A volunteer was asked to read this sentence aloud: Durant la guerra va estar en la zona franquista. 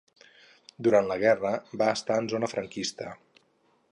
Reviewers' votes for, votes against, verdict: 2, 6, rejected